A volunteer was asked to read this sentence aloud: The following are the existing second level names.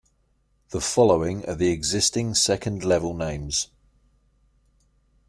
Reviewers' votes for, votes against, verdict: 2, 0, accepted